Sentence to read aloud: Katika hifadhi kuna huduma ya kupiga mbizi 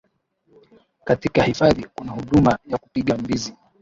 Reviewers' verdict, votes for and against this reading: rejected, 1, 2